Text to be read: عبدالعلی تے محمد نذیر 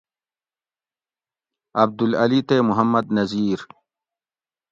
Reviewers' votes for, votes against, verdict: 2, 0, accepted